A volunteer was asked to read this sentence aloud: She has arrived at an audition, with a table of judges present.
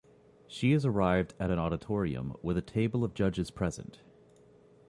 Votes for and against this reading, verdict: 0, 3, rejected